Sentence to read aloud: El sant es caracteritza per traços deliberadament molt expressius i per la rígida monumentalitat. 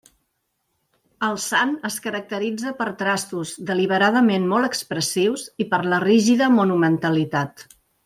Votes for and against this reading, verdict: 1, 2, rejected